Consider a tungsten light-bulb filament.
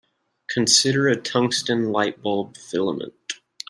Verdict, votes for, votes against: accepted, 2, 0